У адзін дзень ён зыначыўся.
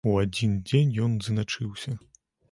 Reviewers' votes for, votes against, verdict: 0, 2, rejected